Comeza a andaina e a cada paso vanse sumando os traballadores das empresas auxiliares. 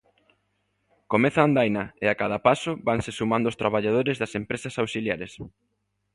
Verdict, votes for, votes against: accepted, 3, 0